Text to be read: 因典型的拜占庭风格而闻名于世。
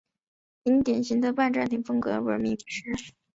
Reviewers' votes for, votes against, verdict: 4, 0, accepted